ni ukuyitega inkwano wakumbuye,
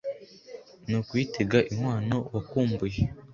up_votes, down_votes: 2, 0